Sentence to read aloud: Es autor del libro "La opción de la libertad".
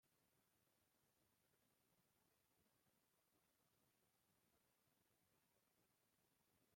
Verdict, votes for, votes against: rejected, 0, 2